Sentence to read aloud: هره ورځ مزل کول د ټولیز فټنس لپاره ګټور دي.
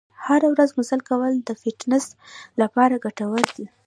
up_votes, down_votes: 1, 2